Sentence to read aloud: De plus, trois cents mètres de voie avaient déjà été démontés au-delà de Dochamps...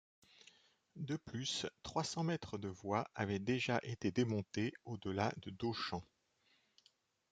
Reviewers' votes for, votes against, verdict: 2, 0, accepted